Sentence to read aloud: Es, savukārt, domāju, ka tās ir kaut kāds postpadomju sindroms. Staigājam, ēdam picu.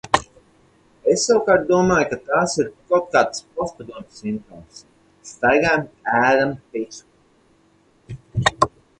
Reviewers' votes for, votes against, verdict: 4, 0, accepted